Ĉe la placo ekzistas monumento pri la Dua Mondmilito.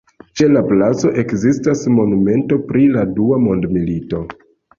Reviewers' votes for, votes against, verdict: 1, 2, rejected